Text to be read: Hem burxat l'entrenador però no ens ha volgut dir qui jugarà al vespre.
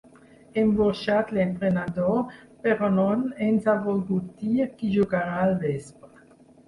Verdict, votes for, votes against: rejected, 2, 4